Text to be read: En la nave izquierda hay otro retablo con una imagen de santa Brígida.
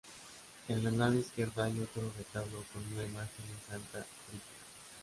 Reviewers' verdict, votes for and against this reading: rejected, 0, 2